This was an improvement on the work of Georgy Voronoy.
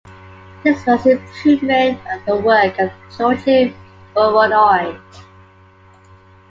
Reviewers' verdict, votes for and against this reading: rejected, 0, 2